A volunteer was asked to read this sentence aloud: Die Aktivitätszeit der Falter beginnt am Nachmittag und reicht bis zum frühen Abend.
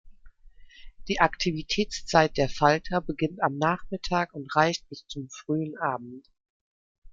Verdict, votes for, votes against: accepted, 2, 0